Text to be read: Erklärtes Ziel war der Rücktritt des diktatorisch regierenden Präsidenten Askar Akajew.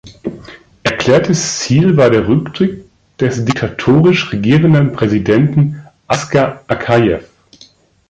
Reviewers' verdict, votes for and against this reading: rejected, 0, 2